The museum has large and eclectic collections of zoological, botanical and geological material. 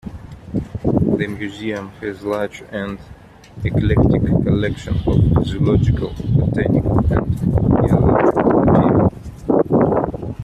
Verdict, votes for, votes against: rejected, 0, 2